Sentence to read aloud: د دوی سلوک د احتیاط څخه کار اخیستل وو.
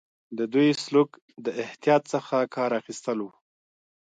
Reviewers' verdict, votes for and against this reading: accepted, 2, 0